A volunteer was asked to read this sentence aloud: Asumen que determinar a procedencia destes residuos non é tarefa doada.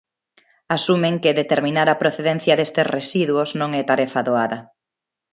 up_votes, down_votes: 2, 0